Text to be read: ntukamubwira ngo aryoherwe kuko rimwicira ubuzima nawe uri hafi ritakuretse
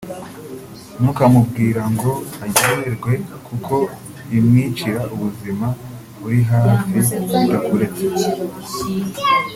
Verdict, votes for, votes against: rejected, 0, 2